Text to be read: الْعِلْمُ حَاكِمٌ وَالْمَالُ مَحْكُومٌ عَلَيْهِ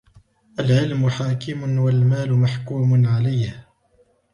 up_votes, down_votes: 3, 0